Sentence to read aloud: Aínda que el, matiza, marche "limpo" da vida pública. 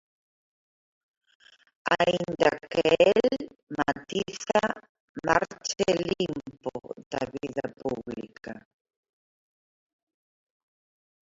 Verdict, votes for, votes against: rejected, 0, 6